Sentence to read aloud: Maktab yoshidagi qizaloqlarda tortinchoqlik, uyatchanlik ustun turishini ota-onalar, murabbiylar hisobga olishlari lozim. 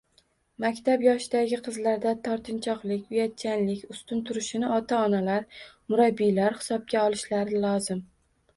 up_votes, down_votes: 0, 3